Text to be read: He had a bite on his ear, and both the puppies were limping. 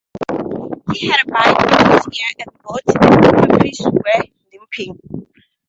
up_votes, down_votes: 2, 0